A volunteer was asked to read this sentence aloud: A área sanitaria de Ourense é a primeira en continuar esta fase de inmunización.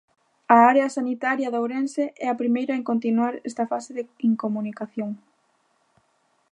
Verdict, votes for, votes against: rejected, 0, 2